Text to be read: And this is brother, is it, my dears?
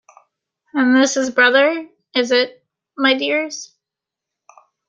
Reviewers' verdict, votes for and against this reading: accepted, 2, 0